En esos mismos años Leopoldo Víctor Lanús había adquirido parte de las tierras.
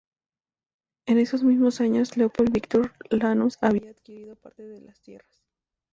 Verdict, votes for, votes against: rejected, 0, 2